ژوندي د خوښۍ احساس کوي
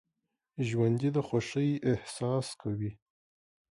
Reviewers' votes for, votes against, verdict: 2, 0, accepted